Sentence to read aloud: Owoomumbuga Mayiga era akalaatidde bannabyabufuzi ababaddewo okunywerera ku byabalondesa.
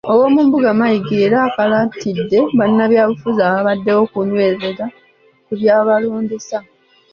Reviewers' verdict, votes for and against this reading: rejected, 1, 2